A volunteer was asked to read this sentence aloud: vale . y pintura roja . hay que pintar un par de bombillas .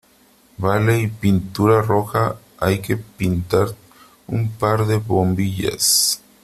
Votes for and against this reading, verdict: 2, 0, accepted